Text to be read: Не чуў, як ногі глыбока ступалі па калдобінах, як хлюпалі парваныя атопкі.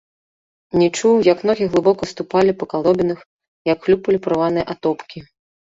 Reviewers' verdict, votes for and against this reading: rejected, 1, 2